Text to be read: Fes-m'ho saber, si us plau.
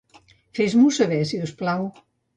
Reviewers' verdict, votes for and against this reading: accepted, 2, 0